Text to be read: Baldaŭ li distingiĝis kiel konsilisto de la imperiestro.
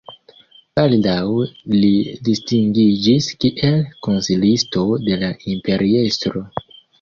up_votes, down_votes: 0, 2